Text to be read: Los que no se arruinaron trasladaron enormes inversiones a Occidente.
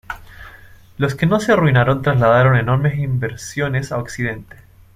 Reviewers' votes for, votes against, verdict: 2, 0, accepted